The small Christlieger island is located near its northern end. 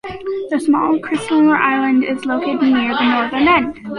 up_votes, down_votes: 0, 2